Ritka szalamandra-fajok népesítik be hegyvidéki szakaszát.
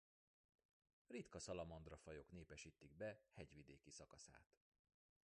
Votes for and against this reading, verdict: 1, 2, rejected